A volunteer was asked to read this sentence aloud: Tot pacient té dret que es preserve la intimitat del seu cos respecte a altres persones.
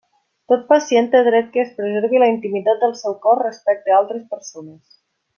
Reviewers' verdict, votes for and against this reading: rejected, 0, 2